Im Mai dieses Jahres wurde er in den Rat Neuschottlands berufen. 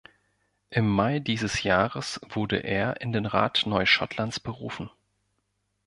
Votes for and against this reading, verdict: 2, 0, accepted